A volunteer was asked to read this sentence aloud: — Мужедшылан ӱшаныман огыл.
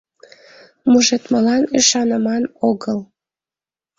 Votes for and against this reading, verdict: 1, 2, rejected